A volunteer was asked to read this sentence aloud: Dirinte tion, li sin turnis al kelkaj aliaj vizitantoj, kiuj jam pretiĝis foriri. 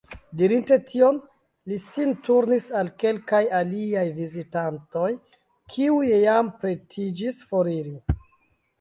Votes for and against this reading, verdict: 2, 0, accepted